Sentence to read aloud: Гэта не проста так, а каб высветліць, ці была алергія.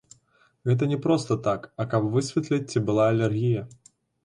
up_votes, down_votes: 2, 0